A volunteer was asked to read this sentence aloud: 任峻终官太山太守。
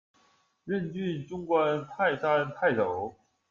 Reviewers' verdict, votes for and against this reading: rejected, 1, 2